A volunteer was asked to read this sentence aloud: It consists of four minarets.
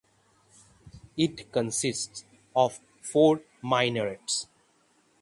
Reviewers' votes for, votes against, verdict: 6, 3, accepted